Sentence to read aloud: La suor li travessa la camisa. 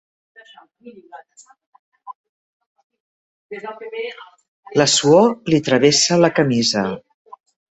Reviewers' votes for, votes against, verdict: 0, 2, rejected